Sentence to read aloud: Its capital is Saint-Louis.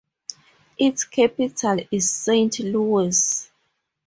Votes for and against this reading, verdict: 0, 2, rejected